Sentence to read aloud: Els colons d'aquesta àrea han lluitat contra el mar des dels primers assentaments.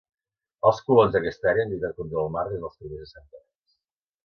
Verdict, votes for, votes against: rejected, 0, 2